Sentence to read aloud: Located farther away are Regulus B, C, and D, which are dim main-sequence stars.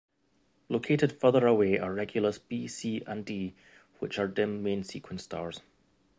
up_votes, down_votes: 2, 0